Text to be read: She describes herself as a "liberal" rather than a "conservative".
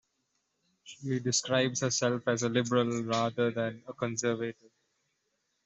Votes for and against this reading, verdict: 0, 2, rejected